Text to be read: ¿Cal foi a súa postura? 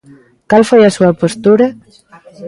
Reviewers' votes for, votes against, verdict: 2, 0, accepted